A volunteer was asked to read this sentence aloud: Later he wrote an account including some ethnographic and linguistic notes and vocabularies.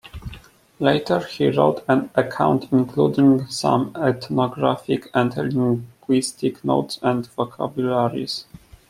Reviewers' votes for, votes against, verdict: 2, 0, accepted